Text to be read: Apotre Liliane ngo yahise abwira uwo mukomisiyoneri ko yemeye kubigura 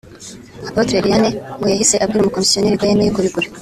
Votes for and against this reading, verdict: 1, 2, rejected